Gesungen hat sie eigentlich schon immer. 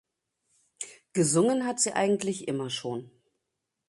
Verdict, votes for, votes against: rejected, 0, 2